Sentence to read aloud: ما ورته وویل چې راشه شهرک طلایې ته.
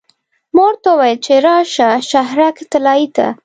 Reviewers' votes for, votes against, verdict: 1, 2, rejected